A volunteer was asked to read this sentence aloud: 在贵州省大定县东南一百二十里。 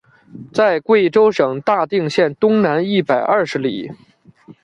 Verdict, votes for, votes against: rejected, 0, 2